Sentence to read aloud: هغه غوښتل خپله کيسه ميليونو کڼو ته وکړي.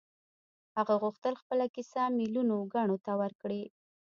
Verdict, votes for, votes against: rejected, 1, 2